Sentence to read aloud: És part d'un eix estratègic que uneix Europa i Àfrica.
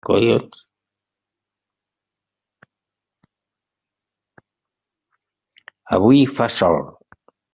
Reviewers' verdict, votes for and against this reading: rejected, 0, 2